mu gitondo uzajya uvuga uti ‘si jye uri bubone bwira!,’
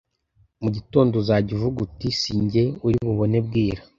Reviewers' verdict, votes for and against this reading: accepted, 2, 0